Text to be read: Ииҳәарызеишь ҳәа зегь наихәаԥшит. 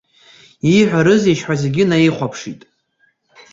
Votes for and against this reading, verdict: 2, 1, accepted